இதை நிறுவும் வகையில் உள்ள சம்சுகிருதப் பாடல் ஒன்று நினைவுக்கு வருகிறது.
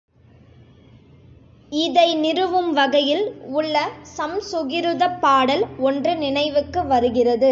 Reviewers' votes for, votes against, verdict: 2, 0, accepted